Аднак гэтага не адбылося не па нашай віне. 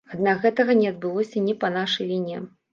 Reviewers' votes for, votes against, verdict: 2, 0, accepted